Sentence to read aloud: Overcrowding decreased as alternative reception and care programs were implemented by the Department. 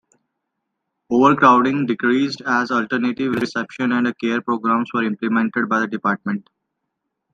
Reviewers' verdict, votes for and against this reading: rejected, 1, 2